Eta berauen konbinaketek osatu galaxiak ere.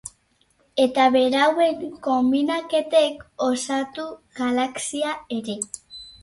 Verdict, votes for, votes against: rejected, 0, 4